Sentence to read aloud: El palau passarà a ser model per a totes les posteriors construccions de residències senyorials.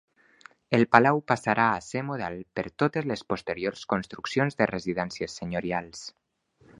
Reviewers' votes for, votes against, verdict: 1, 2, rejected